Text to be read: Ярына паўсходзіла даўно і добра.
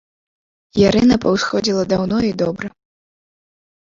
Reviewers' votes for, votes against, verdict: 1, 3, rejected